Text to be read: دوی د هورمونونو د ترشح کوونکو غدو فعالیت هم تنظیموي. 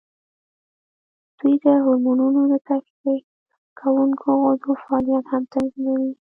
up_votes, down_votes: 1, 2